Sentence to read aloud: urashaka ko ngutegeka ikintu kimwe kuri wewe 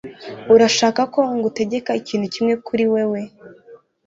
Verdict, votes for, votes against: accepted, 2, 0